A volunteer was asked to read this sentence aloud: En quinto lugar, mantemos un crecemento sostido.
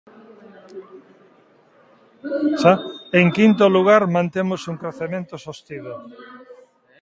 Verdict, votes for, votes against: rejected, 0, 2